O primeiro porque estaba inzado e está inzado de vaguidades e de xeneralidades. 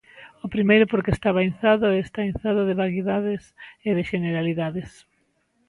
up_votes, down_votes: 0, 4